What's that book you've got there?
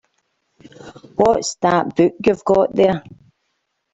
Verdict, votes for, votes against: accepted, 2, 0